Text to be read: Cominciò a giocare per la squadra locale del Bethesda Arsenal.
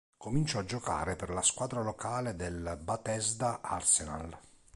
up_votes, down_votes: 1, 2